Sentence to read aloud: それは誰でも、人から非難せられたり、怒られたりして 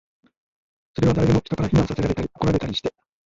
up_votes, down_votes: 2, 0